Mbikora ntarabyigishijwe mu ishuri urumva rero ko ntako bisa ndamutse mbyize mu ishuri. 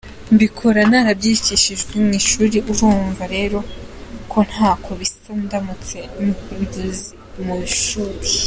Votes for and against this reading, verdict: 0, 2, rejected